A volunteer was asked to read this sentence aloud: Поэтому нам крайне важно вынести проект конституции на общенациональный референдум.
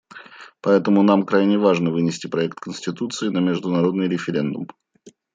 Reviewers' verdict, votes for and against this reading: rejected, 0, 2